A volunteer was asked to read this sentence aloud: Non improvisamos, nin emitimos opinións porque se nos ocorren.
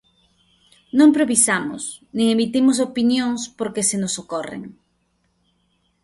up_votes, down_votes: 0, 2